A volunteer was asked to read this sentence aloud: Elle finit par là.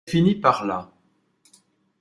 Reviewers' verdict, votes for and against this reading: rejected, 1, 2